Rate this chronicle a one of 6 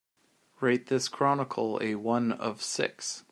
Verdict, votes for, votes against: rejected, 0, 2